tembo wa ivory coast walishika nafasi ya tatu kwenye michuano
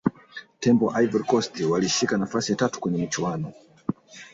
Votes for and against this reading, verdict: 3, 0, accepted